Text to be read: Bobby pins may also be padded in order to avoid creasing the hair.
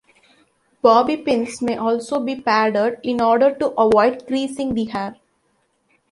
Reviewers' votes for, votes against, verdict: 2, 1, accepted